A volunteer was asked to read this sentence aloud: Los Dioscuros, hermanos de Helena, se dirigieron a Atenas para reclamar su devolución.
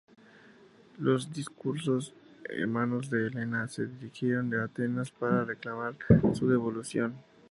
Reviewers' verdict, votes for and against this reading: accepted, 2, 0